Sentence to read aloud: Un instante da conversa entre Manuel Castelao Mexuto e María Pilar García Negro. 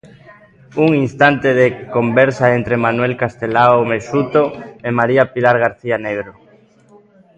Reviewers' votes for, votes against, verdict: 0, 2, rejected